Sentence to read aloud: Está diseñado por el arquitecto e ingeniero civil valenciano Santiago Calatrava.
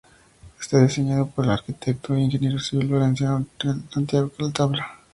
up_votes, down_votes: 0, 2